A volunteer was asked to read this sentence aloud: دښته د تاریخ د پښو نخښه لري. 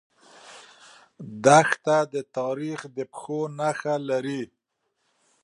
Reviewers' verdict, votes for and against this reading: accepted, 2, 0